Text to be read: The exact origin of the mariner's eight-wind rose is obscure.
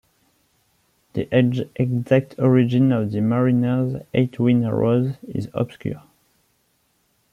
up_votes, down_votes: 0, 2